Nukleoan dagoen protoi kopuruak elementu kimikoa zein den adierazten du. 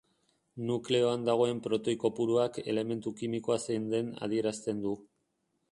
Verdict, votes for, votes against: accepted, 2, 0